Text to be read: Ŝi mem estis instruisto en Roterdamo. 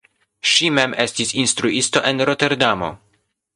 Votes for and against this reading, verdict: 2, 0, accepted